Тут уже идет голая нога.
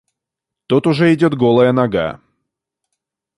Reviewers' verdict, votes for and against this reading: accepted, 2, 0